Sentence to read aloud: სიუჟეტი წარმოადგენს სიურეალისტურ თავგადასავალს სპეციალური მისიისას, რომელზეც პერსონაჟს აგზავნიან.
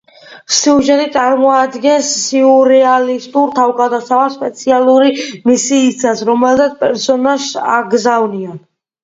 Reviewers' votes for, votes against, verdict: 2, 0, accepted